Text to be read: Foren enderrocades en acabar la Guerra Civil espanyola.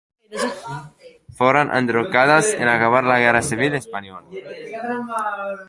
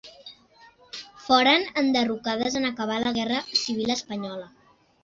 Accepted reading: second